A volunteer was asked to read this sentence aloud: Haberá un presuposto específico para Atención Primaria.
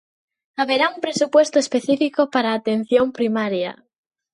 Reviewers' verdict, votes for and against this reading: rejected, 0, 2